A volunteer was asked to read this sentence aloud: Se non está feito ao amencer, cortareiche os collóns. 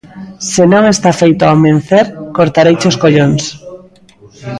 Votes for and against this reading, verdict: 1, 2, rejected